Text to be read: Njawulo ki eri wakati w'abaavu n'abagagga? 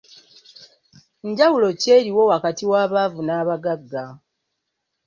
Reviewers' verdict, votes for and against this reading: rejected, 0, 2